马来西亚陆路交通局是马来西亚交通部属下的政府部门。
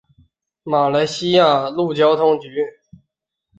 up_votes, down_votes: 0, 3